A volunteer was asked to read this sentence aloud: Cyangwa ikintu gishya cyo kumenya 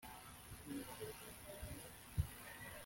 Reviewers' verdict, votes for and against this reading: rejected, 0, 2